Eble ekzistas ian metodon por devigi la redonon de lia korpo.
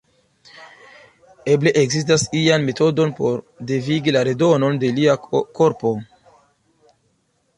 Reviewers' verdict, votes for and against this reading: accepted, 2, 0